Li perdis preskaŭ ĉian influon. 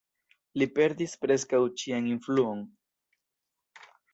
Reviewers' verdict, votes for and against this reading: accepted, 2, 0